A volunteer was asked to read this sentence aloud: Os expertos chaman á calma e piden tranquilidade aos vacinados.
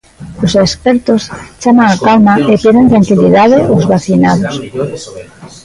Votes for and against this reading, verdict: 0, 2, rejected